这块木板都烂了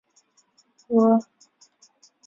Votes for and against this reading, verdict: 0, 2, rejected